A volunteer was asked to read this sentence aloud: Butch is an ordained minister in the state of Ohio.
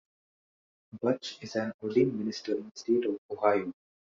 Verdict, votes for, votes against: accepted, 2, 0